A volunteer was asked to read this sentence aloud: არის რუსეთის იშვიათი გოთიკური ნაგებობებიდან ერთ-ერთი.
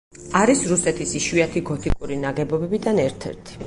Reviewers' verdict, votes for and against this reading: accepted, 4, 0